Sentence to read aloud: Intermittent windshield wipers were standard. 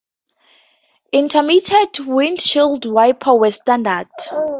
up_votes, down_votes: 0, 2